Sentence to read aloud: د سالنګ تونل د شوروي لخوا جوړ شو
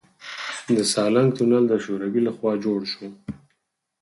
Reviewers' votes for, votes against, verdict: 4, 2, accepted